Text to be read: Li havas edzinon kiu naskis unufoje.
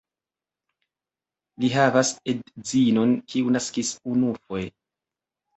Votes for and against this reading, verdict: 0, 2, rejected